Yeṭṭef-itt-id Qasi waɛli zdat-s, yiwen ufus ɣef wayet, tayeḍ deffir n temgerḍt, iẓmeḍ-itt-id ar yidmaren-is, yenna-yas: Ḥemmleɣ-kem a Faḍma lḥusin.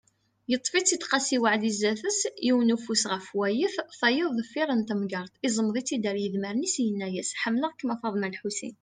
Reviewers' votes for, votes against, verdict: 2, 0, accepted